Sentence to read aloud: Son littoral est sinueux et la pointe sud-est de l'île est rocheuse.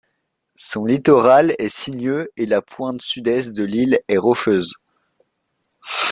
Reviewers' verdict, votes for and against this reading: accepted, 2, 0